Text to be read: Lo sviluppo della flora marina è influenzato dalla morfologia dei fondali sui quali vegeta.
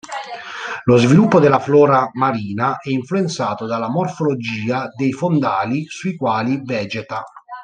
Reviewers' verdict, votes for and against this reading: rejected, 1, 2